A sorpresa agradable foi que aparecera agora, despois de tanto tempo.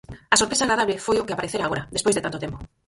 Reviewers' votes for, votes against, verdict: 0, 4, rejected